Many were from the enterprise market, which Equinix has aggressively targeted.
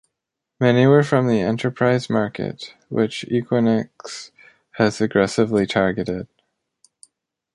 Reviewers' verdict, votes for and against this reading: accepted, 2, 0